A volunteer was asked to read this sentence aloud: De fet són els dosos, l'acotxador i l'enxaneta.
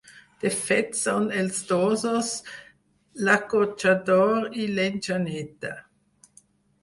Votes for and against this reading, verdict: 0, 4, rejected